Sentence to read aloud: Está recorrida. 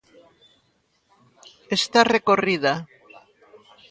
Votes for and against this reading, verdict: 1, 2, rejected